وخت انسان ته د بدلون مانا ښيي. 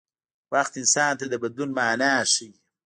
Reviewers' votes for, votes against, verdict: 1, 2, rejected